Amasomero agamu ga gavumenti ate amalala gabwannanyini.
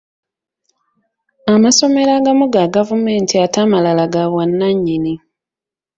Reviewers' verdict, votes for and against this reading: accepted, 2, 0